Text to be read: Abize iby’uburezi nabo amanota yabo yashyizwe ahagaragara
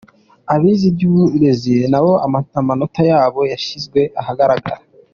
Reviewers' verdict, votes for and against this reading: accepted, 2, 1